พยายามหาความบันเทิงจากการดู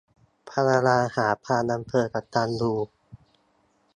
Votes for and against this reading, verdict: 1, 2, rejected